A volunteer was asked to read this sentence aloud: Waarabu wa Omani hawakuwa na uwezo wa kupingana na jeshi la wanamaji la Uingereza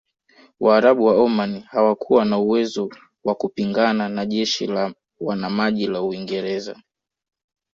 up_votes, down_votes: 2, 0